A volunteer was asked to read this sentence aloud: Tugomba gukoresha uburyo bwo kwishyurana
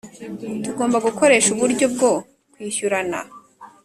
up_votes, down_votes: 3, 0